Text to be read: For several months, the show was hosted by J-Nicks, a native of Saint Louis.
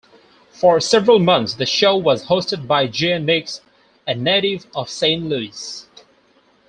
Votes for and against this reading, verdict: 4, 2, accepted